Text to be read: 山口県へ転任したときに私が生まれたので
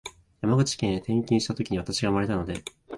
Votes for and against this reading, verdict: 2, 3, rejected